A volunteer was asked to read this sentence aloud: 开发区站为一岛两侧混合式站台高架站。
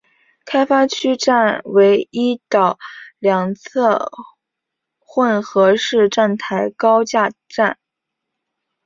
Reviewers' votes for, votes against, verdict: 4, 0, accepted